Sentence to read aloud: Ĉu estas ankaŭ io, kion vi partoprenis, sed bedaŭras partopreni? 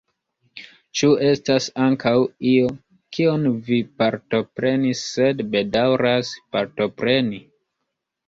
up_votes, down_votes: 0, 2